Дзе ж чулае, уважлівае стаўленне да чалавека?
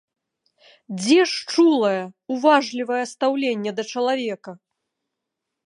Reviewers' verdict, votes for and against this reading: accepted, 3, 0